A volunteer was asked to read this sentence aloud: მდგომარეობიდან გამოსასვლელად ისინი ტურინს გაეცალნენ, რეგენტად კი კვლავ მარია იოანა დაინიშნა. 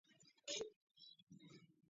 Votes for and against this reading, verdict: 0, 2, rejected